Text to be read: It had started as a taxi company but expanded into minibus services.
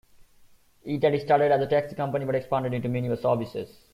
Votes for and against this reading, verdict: 1, 2, rejected